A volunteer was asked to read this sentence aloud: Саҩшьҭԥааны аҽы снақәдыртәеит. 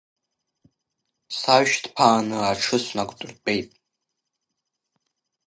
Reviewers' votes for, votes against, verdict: 2, 0, accepted